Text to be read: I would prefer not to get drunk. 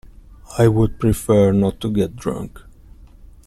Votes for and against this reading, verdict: 2, 0, accepted